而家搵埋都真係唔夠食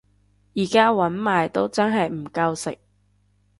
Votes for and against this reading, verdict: 2, 0, accepted